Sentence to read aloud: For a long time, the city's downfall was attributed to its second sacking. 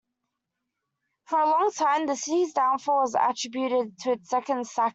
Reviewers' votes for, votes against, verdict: 1, 2, rejected